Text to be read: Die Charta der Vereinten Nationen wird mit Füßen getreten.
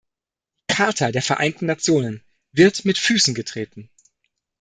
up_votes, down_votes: 1, 2